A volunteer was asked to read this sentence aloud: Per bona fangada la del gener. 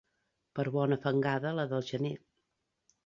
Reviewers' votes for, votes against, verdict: 2, 0, accepted